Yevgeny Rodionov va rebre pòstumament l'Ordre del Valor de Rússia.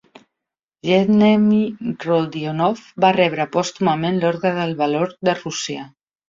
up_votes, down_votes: 1, 2